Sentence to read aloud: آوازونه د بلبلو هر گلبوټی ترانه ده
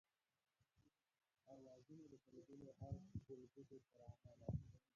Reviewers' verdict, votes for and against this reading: rejected, 1, 6